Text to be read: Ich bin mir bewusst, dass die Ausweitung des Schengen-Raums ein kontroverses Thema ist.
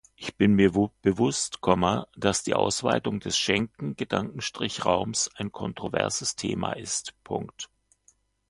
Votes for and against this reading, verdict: 0, 2, rejected